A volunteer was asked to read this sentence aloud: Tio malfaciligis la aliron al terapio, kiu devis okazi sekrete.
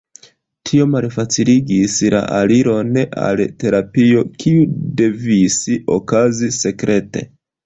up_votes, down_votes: 2, 0